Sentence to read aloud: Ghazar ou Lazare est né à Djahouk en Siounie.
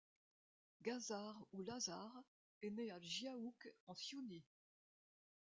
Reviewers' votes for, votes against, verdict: 2, 0, accepted